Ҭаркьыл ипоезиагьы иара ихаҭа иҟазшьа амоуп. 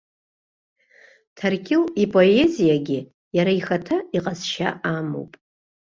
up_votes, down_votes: 3, 0